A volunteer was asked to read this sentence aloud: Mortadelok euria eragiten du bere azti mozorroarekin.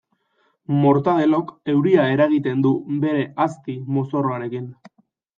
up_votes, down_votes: 2, 0